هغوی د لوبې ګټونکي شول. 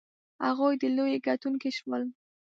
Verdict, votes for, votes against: rejected, 0, 2